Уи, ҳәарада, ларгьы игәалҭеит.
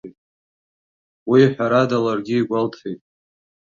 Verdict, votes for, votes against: accepted, 2, 0